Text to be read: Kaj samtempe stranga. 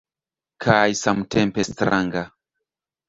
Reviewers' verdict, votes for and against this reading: rejected, 1, 2